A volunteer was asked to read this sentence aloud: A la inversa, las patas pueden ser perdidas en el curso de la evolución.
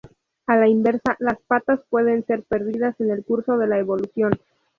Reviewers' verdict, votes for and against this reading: accepted, 2, 0